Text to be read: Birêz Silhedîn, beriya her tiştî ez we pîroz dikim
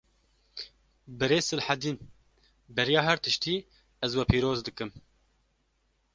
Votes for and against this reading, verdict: 2, 0, accepted